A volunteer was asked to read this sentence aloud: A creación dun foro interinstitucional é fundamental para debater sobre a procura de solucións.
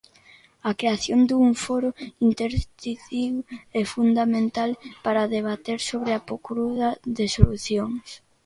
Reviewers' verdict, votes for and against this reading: rejected, 0, 2